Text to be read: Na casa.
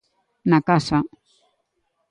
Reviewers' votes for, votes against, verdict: 2, 0, accepted